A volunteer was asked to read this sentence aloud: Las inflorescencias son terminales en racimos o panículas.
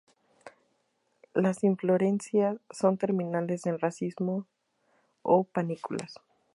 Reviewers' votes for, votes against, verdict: 0, 2, rejected